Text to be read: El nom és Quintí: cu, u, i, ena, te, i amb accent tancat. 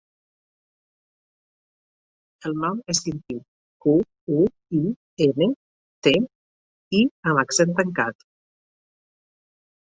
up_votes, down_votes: 4, 0